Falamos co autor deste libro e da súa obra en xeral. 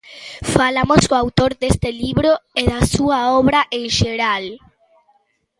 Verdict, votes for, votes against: accepted, 2, 0